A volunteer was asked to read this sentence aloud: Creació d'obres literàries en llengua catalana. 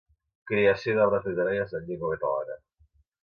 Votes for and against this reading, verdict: 2, 0, accepted